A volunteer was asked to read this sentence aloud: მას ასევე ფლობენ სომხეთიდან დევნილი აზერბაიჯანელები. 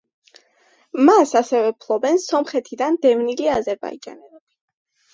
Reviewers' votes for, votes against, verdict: 2, 0, accepted